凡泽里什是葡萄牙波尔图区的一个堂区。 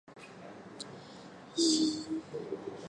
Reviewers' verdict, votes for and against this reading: rejected, 0, 2